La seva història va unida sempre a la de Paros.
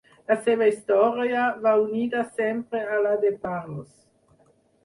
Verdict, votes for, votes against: rejected, 0, 2